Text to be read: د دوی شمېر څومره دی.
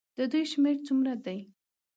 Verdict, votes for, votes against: accepted, 2, 0